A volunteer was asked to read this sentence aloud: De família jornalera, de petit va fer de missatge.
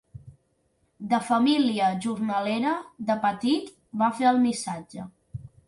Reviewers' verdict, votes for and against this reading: rejected, 1, 2